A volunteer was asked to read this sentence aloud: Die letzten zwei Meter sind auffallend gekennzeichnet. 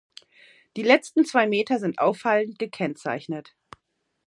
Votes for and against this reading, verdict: 0, 2, rejected